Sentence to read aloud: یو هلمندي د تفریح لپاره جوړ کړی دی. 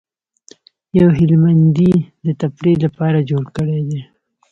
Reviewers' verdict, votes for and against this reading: accepted, 2, 0